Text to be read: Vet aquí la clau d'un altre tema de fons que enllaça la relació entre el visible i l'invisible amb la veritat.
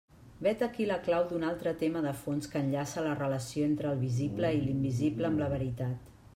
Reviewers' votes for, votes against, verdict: 3, 0, accepted